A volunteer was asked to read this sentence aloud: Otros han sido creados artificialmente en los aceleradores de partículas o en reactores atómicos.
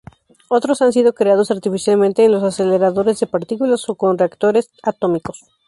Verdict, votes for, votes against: rejected, 0, 2